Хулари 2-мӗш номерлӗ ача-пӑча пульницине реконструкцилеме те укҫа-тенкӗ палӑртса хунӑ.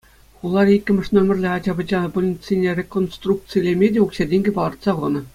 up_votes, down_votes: 0, 2